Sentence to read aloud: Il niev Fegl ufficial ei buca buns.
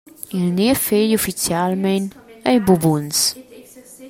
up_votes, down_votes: 0, 2